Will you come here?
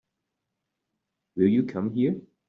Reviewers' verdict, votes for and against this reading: accepted, 2, 0